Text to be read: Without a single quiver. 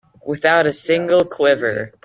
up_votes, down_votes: 2, 0